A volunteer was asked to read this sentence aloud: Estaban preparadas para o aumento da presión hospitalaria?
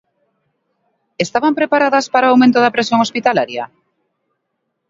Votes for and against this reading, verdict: 2, 0, accepted